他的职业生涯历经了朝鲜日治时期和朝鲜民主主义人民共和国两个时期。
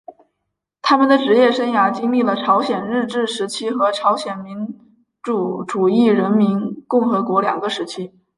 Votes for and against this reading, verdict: 3, 0, accepted